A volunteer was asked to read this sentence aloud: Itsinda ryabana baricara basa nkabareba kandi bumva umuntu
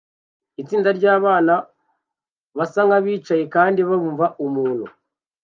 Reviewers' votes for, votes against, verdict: 0, 2, rejected